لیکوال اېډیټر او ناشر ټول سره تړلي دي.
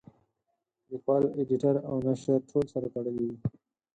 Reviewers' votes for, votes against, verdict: 4, 0, accepted